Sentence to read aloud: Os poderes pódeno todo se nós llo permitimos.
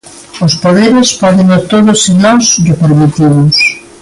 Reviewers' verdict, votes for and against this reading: accepted, 2, 0